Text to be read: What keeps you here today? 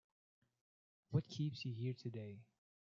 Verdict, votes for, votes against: accepted, 2, 0